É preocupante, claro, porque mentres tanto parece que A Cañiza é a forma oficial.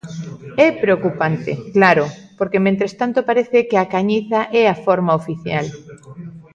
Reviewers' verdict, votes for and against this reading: rejected, 0, 2